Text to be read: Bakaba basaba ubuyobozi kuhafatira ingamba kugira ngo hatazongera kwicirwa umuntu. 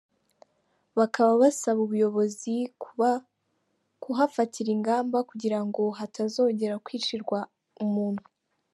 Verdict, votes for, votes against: rejected, 1, 2